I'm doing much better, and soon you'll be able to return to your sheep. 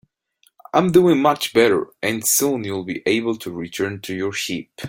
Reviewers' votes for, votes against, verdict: 2, 0, accepted